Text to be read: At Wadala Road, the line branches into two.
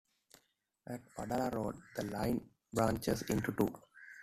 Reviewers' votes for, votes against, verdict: 1, 2, rejected